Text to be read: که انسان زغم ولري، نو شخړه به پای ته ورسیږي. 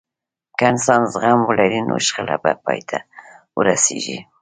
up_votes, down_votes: 1, 2